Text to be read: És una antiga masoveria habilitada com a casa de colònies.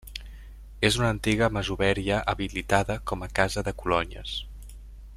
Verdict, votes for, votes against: rejected, 0, 2